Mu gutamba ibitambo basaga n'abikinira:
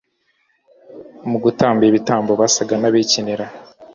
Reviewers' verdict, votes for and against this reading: accepted, 2, 1